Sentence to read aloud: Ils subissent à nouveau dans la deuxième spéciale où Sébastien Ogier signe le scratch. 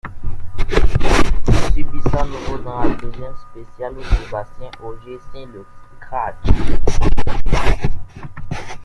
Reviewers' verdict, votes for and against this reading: rejected, 0, 2